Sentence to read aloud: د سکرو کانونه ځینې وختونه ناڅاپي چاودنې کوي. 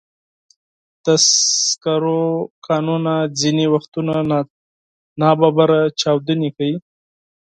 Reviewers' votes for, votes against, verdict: 4, 0, accepted